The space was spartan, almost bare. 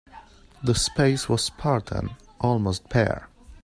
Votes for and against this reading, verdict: 2, 0, accepted